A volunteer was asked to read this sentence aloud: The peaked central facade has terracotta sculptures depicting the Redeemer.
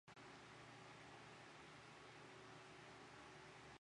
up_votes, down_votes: 0, 2